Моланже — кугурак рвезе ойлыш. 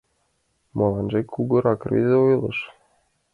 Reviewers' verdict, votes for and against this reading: accepted, 2, 1